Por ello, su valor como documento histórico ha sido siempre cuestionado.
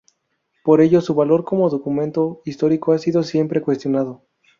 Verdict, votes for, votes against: accepted, 2, 0